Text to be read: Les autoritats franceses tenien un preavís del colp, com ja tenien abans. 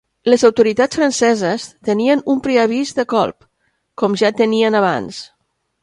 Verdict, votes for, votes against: rejected, 1, 2